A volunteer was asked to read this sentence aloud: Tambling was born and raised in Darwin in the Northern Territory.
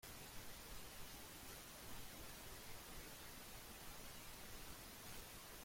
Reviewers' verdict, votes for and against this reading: rejected, 0, 2